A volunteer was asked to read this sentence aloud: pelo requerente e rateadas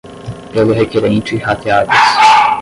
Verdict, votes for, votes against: rejected, 5, 10